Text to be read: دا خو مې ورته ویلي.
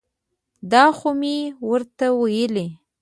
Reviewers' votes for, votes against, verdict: 2, 0, accepted